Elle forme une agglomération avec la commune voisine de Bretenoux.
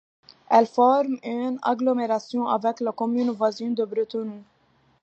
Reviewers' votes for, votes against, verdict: 2, 0, accepted